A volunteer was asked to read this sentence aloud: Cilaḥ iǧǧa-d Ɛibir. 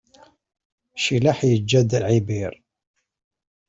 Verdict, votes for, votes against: accepted, 2, 0